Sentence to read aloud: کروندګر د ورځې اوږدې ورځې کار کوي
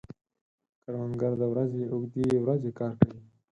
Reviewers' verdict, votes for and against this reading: rejected, 2, 6